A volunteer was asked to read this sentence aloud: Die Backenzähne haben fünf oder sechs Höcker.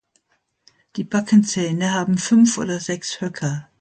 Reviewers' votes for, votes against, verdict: 2, 0, accepted